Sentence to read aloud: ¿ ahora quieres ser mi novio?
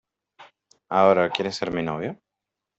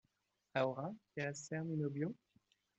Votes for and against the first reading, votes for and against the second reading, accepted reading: 0, 2, 2, 0, second